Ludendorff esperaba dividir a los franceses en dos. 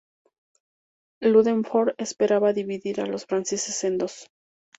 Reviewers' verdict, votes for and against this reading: rejected, 0, 2